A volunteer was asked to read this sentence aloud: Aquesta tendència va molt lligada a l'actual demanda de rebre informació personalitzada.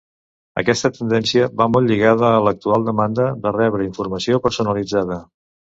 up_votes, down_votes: 2, 0